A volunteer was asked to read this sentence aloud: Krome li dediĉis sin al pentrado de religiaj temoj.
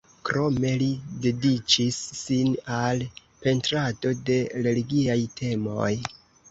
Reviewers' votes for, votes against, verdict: 2, 3, rejected